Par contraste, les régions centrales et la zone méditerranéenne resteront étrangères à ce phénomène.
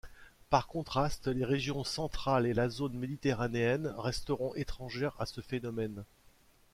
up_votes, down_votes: 2, 0